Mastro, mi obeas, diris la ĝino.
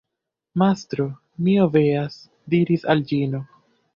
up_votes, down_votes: 0, 2